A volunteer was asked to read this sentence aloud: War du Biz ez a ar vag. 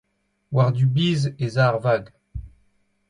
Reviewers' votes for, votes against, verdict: 2, 0, accepted